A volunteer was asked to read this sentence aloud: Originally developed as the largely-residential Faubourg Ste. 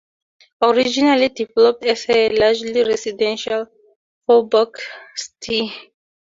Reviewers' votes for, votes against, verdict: 2, 0, accepted